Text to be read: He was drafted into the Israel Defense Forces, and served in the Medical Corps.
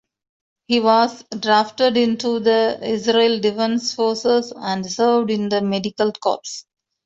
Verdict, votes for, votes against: rejected, 1, 2